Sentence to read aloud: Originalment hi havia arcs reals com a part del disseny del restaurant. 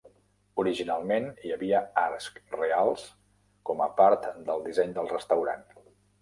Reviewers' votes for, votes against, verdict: 2, 3, rejected